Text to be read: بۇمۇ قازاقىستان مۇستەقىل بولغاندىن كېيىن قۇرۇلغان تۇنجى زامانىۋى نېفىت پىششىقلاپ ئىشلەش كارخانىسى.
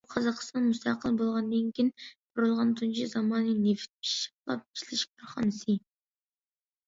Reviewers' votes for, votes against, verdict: 0, 2, rejected